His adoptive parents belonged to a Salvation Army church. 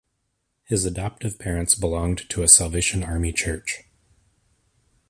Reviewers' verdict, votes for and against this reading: accepted, 2, 0